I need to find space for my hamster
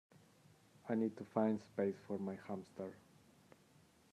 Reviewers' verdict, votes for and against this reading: rejected, 0, 2